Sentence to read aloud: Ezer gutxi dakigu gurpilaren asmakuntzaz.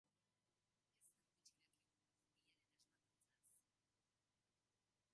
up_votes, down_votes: 0, 2